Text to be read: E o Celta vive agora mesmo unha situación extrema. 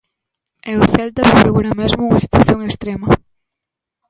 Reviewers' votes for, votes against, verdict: 1, 2, rejected